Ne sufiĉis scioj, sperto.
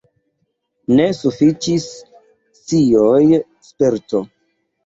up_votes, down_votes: 1, 2